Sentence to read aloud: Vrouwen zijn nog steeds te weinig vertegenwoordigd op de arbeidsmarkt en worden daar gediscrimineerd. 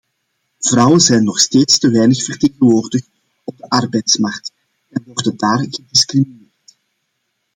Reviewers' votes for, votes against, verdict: 0, 2, rejected